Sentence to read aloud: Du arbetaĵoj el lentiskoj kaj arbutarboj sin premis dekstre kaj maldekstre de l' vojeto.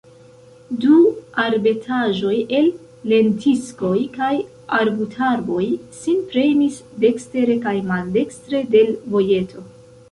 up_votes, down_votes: 1, 2